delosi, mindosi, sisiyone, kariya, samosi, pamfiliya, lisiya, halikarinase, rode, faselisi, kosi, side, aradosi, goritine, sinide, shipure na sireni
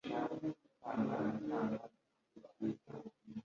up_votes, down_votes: 1, 2